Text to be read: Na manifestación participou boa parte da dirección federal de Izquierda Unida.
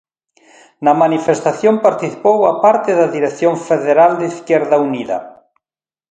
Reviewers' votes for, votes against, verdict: 2, 0, accepted